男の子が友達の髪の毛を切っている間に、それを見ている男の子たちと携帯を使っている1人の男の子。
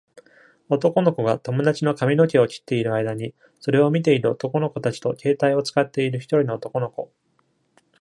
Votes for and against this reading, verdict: 0, 2, rejected